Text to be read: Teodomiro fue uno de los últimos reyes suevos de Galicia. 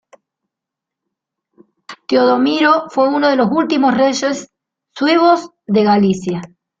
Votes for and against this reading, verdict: 2, 0, accepted